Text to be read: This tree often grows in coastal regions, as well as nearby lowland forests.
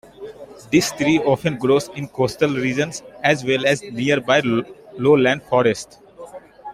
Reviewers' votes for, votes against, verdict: 2, 1, accepted